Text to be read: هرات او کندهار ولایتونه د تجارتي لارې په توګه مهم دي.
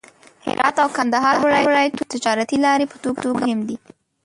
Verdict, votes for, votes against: rejected, 0, 2